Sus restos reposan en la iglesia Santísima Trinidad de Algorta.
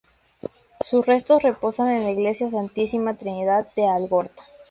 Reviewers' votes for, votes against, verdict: 2, 0, accepted